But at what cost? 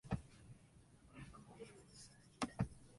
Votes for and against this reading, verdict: 0, 2, rejected